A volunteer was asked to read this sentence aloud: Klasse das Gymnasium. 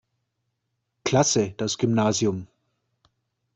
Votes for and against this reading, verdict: 2, 0, accepted